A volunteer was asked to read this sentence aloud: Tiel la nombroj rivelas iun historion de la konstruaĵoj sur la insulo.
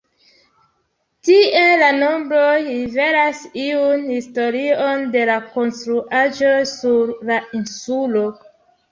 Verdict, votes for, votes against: rejected, 0, 2